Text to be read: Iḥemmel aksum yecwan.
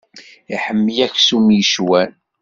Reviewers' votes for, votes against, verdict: 2, 0, accepted